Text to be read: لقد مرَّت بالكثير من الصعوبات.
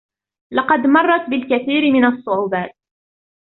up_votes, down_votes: 2, 1